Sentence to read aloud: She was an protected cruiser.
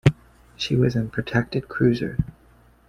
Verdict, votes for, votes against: accepted, 2, 0